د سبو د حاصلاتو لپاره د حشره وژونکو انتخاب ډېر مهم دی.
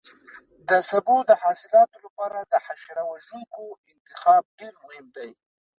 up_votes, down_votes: 1, 2